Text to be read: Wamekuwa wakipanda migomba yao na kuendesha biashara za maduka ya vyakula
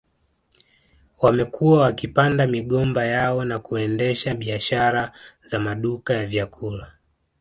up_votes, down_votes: 5, 0